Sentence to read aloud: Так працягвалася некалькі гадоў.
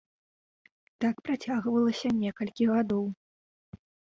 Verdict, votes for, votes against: accepted, 2, 0